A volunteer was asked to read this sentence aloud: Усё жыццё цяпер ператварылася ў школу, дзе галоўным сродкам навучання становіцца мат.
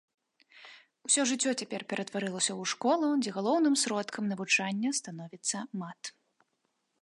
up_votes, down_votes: 2, 0